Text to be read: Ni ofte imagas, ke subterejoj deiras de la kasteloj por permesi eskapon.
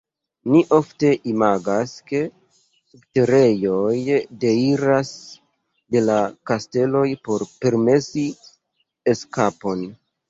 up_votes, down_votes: 2, 0